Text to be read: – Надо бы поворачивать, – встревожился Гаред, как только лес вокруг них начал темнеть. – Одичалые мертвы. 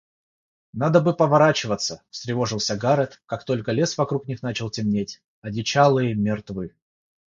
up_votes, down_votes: 0, 3